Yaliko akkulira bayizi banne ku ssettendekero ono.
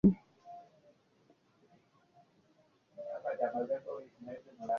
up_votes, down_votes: 0, 2